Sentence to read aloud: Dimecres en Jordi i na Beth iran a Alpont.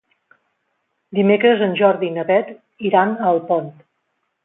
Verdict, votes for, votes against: accepted, 2, 0